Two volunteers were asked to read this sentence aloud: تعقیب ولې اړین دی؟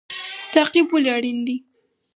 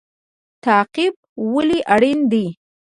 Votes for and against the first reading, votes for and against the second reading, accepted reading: 4, 2, 0, 2, first